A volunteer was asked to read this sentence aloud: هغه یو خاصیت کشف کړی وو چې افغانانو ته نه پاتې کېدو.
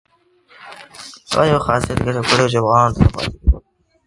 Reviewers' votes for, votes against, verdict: 0, 2, rejected